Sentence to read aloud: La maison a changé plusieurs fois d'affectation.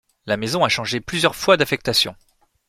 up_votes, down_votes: 2, 0